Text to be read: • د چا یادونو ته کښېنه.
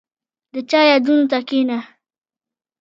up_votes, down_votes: 1, 2